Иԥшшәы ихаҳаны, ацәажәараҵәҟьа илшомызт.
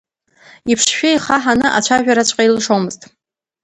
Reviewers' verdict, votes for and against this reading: rejected, 1, 2